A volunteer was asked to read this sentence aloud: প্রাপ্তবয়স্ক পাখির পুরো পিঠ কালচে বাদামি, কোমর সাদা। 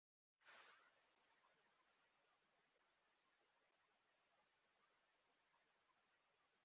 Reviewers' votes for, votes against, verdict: 0, 2, rejected